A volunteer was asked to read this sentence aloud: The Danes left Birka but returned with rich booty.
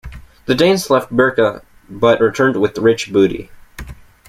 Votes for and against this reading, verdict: 2, 0, accepted